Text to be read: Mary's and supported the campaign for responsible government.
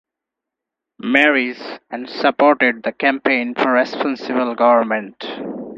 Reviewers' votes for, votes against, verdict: 0, 4, rejected